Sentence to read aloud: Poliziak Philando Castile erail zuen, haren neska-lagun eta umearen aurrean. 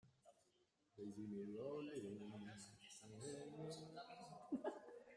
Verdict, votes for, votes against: rejected, 0, 2